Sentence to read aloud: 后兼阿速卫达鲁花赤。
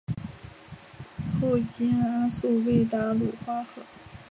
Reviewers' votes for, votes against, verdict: 1, 2, rejected